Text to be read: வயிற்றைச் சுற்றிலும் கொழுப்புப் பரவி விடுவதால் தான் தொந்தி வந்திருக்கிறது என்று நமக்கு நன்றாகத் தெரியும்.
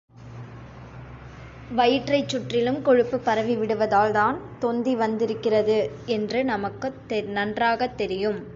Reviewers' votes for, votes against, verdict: 2, 0, accepted